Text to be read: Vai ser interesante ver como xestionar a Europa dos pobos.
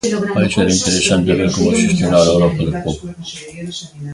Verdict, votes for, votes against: rejected, 0, 2